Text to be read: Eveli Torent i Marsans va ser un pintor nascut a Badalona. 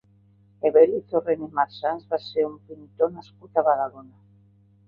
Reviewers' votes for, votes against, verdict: 1, 2, rejected